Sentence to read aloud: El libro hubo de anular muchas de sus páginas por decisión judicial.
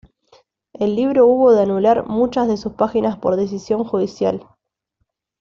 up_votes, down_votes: 2, 0